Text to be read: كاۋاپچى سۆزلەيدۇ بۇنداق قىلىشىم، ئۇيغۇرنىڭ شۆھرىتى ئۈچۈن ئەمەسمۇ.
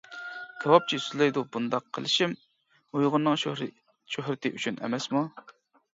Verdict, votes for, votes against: rejected, 1, 2